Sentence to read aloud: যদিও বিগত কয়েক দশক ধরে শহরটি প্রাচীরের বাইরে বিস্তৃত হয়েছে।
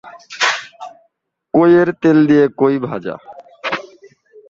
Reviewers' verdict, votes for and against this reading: rejected, 1, 6